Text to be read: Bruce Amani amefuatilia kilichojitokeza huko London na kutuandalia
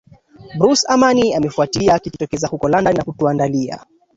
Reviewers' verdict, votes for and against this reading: rejected, 0, 2